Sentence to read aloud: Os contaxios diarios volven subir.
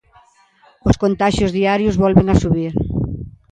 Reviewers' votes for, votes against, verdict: 0, 2, rejected